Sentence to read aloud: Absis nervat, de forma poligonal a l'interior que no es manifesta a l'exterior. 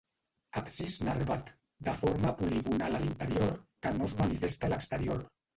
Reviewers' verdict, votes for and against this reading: rejected, 1, 3